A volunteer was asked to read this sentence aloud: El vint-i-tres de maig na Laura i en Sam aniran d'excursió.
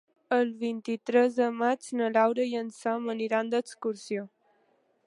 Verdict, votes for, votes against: accepted, 4, 0